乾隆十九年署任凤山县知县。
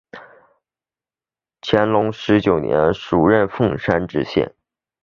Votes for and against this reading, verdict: 2, 0, accepted